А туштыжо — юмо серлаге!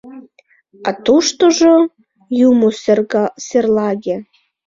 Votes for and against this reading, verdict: 0, 2, rejected